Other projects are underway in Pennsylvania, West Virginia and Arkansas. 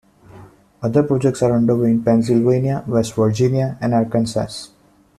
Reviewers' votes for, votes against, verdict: 2, 0, accepted